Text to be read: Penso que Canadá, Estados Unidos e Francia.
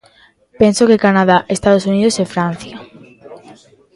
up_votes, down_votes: 1, 2